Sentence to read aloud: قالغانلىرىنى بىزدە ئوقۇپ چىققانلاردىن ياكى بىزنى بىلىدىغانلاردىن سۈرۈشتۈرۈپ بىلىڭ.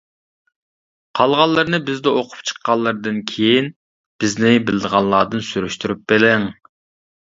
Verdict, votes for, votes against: rejected, 0, 2